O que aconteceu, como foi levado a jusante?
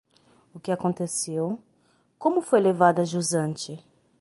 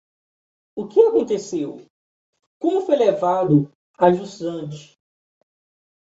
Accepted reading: first